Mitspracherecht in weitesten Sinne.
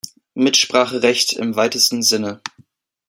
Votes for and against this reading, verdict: 1, 2, rejected